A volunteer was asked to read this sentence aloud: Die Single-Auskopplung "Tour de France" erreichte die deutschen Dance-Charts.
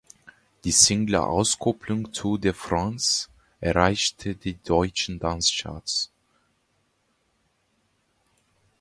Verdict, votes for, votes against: accepted, 2, 0